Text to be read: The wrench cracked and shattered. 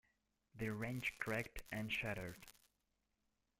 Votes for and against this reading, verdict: 1, 2, rejected